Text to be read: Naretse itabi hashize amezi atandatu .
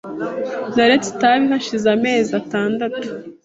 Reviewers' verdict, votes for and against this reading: accepted, 2, 0